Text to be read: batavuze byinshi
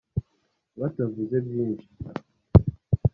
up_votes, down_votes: 2, 0